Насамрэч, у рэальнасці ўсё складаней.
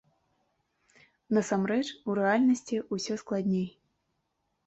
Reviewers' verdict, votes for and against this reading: rejected, 0, 2